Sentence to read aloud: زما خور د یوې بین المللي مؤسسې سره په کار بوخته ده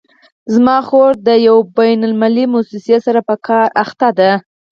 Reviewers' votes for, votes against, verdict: 0, 4, rejected